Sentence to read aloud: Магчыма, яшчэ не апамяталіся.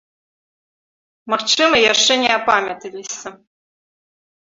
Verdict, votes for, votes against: accepted, 3, 0